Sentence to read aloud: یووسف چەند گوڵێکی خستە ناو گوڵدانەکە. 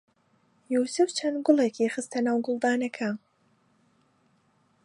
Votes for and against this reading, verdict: 2, 0, accepted